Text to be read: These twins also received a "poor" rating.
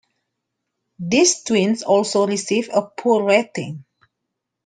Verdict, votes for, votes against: accepted, 2, 0